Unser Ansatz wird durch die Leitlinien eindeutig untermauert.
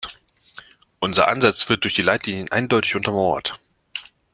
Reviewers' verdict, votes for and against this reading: accepted, 2, 0